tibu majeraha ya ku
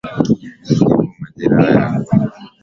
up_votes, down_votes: 1, 4